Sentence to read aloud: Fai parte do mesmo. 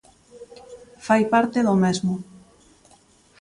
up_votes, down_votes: 2, 0